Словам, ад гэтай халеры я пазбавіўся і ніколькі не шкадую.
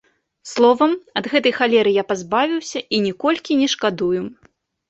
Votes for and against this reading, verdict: 2, 0, accepted